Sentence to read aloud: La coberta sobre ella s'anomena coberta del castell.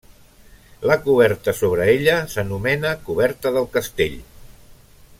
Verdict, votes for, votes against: accepted, 3, 0